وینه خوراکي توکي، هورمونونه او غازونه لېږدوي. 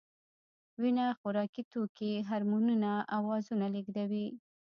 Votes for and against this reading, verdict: 1, 2, rejected